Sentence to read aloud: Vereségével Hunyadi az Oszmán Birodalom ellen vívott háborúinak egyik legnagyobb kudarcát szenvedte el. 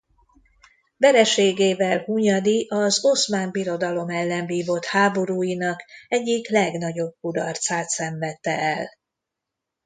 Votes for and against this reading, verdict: 2, 0, accepted